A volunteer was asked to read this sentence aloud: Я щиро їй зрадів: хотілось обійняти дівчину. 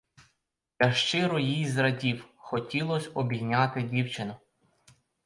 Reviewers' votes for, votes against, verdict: 2, 4, rejected